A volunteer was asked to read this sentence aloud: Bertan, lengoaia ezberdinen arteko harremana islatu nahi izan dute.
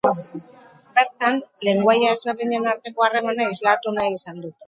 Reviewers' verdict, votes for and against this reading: rejected, 2, 2